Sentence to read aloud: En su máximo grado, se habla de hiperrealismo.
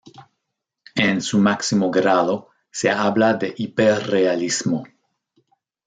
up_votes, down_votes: 2, 0